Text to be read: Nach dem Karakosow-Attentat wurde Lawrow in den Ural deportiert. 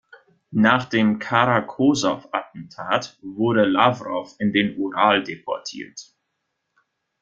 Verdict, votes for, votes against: accepted, 2, 0